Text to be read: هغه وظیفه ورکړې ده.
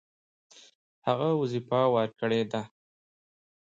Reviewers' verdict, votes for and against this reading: accepted, 3, 0